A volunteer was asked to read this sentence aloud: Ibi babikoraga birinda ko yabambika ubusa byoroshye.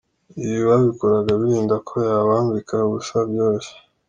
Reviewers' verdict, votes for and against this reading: accepted, 2, 0